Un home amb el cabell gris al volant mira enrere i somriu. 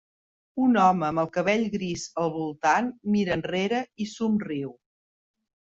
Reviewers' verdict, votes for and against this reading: rejected, 0, 2